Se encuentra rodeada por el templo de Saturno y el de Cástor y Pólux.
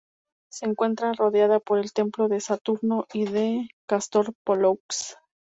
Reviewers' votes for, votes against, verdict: 0, 4, rejected